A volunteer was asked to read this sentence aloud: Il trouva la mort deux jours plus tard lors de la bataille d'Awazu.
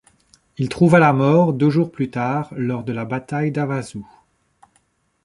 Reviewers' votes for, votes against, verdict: 2, 0, accepted